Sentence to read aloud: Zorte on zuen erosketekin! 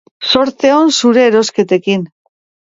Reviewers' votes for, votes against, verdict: 4, 0, accepted